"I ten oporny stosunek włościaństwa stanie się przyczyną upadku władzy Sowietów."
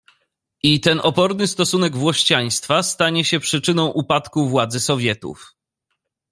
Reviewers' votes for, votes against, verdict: 2, 0, accepted